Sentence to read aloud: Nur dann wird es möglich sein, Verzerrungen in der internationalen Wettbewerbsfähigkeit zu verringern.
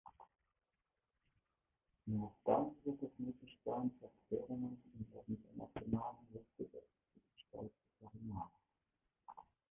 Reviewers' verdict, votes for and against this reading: rejected, 0, 2